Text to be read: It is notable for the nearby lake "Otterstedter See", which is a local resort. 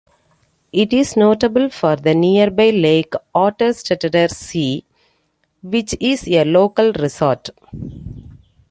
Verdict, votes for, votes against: rejected, 0, 2